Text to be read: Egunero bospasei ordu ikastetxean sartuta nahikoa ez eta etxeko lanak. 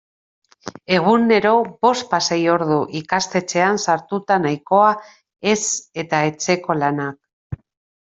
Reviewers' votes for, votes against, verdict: 1, 2, rejected